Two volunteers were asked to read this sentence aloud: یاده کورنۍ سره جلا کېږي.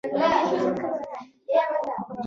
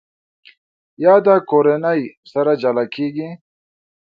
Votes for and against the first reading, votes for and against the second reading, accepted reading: 1, 2, 2, 0, second